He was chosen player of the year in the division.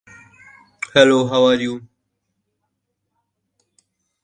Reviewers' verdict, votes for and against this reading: rejected, 1, 2